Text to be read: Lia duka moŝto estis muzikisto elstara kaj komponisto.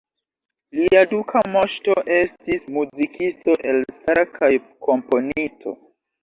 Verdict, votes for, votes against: rejected, 1, 2